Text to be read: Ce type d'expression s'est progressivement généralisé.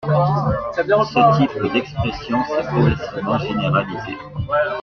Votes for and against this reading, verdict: 0, 2, rejected